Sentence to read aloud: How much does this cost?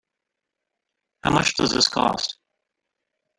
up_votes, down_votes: 1, 2